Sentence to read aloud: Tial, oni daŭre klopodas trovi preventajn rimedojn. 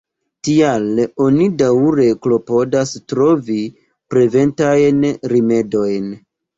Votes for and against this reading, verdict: 1, 2, rejected